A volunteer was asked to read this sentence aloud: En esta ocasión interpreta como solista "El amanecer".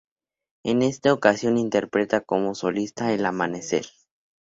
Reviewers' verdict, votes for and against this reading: accepted, 2, 0